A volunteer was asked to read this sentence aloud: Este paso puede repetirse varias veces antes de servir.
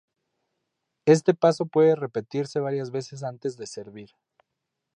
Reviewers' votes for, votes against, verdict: 2, 0, accepted